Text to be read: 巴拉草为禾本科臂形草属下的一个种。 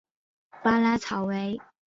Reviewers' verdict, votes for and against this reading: rejected, 0, 2